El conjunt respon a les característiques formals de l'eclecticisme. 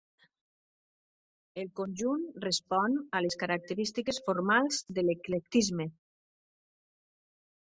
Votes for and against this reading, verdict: 0, 2, rejected